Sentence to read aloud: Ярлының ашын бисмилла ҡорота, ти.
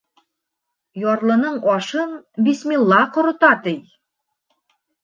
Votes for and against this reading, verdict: 1, 2, rejected